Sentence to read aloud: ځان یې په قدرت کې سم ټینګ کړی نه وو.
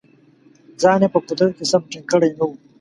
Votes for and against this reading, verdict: 2, 0, accepted